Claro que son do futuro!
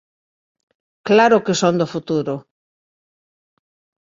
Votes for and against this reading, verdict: 2, 0, accepted